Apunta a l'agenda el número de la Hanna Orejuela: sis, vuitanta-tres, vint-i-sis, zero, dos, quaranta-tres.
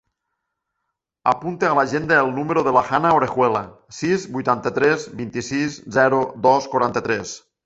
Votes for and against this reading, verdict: 2, 1, accepted